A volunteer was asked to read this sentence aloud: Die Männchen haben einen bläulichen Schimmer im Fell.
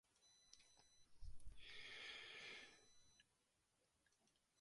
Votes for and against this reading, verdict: 0, 2, rejected